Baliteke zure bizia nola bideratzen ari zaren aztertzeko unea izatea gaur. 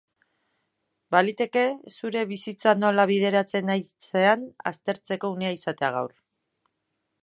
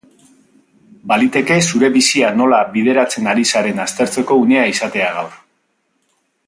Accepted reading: second